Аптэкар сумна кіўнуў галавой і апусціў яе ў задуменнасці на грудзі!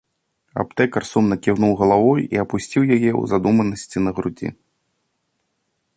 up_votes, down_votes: 0, 2